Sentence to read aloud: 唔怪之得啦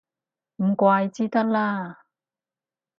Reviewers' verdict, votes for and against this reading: accepted, 4, 0